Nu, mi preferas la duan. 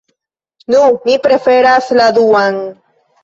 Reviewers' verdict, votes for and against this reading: accepted, 2, 0